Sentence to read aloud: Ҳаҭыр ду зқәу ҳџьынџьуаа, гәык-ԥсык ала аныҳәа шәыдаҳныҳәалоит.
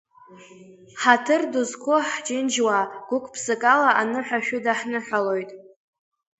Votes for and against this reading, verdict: 2, 0, accepted